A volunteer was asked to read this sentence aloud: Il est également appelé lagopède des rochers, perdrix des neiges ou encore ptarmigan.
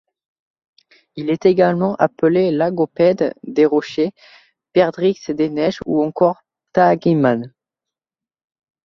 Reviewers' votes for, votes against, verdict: 1, 2, rejected